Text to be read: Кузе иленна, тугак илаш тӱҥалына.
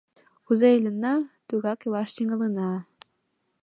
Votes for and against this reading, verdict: 2, 0, accepted